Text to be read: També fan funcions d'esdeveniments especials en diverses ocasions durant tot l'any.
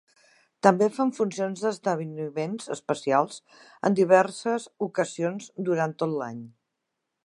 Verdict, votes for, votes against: rejected, 2, 3